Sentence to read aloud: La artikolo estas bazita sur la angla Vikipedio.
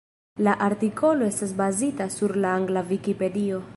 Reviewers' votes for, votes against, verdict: 1, 2, rejected